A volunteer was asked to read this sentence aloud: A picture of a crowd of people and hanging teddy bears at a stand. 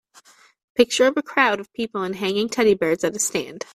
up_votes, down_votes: 0, 2